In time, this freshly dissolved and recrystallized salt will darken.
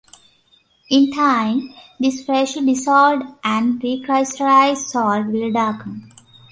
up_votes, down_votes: 2, 1